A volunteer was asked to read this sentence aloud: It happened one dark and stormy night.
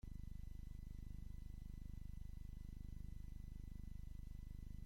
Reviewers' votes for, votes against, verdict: 0, 2, rejected